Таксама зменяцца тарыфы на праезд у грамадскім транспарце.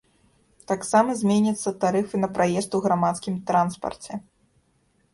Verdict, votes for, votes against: accepted, 2, 0